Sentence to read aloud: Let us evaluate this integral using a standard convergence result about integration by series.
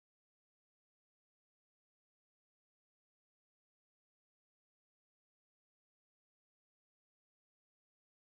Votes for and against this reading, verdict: 0, 2, rejected